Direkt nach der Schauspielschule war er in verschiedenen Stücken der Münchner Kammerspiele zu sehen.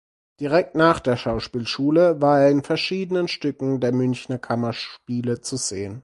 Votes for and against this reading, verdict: 4, 0, accepted